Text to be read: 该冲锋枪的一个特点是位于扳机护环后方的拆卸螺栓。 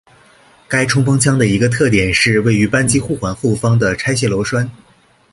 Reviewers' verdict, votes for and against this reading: accepted, 2, 0